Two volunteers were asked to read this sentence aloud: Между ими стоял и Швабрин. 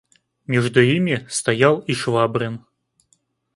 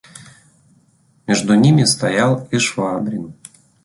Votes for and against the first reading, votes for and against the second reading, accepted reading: 2, 0, 0, 3, first